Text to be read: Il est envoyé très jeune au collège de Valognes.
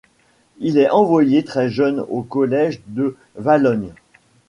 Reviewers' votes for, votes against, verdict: 1, 2, rejected